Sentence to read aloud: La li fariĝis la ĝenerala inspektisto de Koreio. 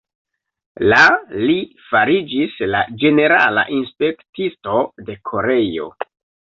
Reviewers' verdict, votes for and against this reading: accepted, 2, 0